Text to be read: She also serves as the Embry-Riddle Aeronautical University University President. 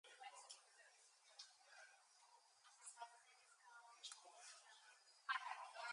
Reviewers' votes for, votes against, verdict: 2, 2, rejected